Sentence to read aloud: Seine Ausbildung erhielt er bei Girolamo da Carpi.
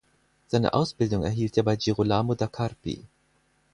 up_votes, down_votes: 4, 2